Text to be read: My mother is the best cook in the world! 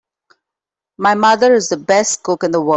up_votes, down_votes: 1, 2